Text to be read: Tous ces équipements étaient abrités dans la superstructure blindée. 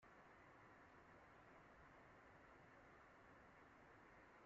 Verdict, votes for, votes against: rejected, 1, 2